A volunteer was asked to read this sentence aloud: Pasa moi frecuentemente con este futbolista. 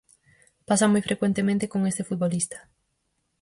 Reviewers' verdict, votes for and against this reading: accepted, 4, 0